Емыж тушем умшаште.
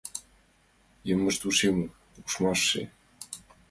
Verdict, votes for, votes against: rejected, 1, 2